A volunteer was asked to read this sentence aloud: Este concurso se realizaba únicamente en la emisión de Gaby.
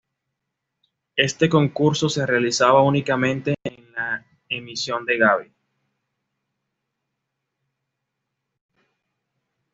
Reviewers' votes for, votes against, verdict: 2, 0, accepted